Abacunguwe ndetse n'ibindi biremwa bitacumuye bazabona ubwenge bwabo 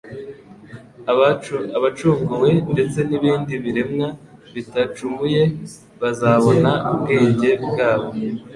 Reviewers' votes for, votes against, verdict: 1, 2, rejected